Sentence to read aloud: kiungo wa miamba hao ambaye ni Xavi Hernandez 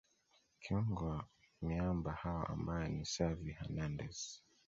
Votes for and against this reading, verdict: 0, 2, rejected